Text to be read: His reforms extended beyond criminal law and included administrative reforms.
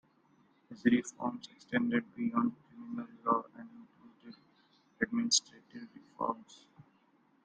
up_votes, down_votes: 0, 2